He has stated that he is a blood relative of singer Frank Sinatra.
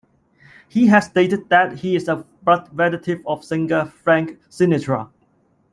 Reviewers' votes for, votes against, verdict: 1, 2, rejected